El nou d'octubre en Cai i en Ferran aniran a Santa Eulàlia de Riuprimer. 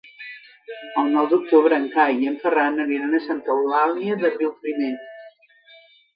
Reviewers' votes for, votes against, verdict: 0, 2, rejected